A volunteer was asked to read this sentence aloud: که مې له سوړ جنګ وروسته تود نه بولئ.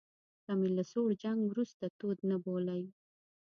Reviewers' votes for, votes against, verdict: 2, 0, accepted